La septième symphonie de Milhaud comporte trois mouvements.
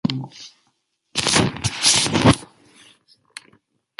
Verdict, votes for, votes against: rejected, 0, 2